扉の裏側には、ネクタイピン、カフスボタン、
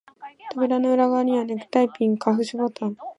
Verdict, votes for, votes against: accepted, 2, 1